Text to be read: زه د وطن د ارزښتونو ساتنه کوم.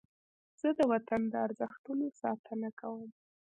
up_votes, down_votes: 2, 0